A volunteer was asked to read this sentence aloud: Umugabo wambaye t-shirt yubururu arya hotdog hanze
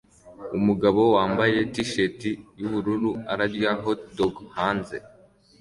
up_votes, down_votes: 2, 0